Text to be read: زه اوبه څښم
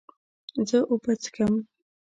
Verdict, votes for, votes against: rejected, 1, 2